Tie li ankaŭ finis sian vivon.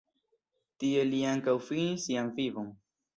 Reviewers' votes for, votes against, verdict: 2, 0, accepted